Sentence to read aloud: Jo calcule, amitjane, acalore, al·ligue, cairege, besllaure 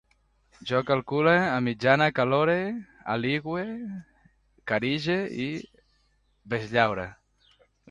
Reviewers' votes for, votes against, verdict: 0, 2, rejected